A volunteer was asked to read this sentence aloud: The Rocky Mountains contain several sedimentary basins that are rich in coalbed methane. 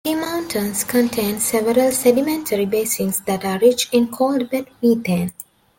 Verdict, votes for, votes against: rejected, 0, 2